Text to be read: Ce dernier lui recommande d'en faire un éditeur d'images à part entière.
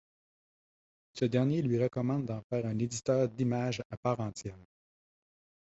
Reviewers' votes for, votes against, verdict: 2, 0, accepted